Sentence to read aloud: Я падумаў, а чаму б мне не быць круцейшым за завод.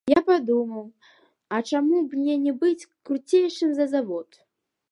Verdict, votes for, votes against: accepted, 2, 1